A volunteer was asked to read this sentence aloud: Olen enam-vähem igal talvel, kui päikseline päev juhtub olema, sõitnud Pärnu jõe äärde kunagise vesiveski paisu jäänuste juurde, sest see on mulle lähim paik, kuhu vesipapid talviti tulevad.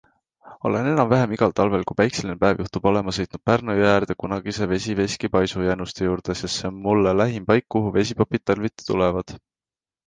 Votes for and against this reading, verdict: 2, 0, accepted